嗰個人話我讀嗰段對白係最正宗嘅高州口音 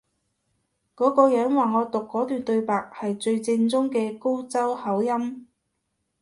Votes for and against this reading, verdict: 2, 0, accepted